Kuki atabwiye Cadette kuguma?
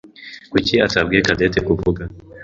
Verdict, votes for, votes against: rejected, 1, 2